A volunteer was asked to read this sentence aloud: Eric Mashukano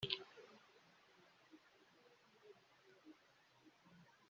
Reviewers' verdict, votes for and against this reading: rejected, 1, 2